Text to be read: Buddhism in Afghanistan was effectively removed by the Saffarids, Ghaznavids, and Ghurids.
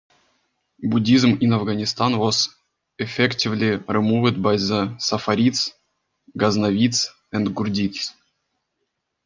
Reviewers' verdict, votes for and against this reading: accepted, 2, 1